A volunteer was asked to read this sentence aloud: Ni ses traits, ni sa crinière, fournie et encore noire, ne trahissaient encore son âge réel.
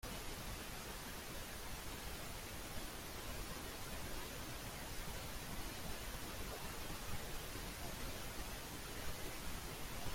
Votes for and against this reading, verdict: 0, 2, rejected